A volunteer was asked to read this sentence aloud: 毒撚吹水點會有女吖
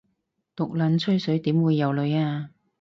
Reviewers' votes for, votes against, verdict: 4, 0, accepted